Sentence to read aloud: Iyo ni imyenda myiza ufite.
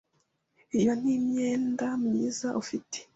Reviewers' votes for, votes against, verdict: 2, 0, accepted